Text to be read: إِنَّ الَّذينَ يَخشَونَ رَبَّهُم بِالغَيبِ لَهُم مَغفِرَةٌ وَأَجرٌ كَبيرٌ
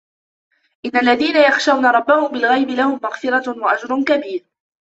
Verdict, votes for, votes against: accepted, 2, 0